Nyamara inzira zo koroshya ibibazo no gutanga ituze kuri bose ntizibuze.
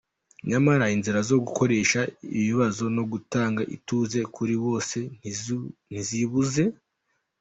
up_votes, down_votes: 0, 2